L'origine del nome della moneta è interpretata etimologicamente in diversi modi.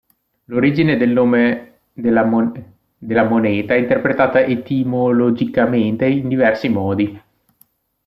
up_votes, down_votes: 1, 2